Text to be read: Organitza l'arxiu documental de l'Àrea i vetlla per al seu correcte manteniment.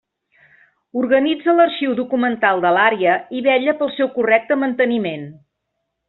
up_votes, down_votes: 1, 2